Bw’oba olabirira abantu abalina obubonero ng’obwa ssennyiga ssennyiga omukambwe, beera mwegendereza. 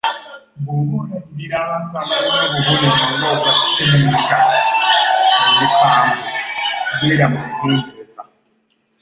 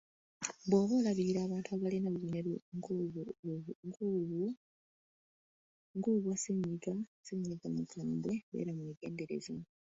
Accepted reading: second